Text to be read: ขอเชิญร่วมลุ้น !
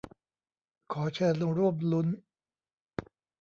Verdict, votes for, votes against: rejected, 1, 2